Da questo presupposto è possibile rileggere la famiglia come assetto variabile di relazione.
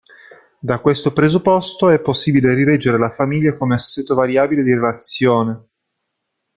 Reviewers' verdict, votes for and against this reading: rejected, 1, 2